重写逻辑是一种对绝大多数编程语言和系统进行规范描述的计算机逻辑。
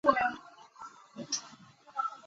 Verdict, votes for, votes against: rejected, 1, 2